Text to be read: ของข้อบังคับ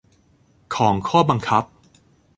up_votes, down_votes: 2, 0